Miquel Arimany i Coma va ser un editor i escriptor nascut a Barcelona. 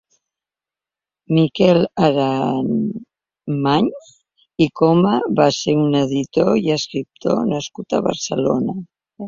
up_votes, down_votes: 0, 2